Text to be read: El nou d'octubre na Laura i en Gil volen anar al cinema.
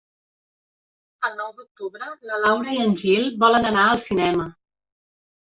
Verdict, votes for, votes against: rejected, 0, 2